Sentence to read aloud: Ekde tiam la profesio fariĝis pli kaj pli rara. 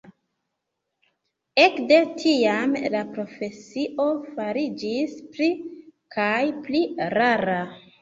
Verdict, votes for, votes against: accepted, 2, 1